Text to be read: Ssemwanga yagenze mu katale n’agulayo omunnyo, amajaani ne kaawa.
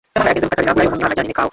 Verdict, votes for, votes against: rejected, 0, 3